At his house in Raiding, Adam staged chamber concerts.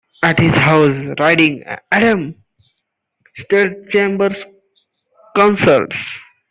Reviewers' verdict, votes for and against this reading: rejected, 0, 2